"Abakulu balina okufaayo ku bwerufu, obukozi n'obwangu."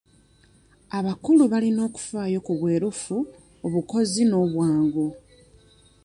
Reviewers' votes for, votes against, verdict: 2, 0, accepted